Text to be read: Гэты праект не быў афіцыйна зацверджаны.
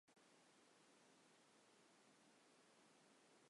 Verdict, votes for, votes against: rejected, 0, 2